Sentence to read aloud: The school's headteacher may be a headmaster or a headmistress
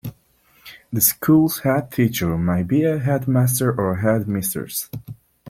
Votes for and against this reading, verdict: 2, 1, accepted